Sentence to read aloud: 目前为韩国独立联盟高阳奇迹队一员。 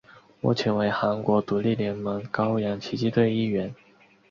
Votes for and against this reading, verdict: 4, 0, accepted